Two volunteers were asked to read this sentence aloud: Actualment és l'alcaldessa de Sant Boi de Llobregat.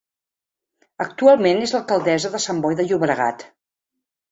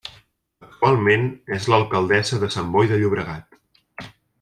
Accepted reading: first